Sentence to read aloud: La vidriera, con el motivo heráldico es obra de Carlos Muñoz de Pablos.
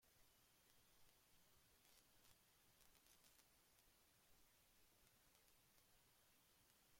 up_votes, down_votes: 0, 2